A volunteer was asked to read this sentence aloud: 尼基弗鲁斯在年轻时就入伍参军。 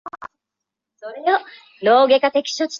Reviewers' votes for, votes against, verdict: 3, 4, rejected